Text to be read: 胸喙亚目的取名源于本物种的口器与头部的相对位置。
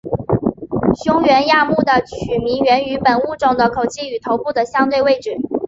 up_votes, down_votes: 2, 1